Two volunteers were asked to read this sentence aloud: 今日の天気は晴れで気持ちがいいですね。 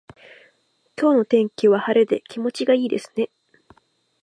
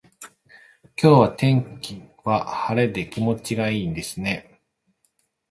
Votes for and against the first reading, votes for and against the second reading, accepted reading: 2, 0, 0, 2, first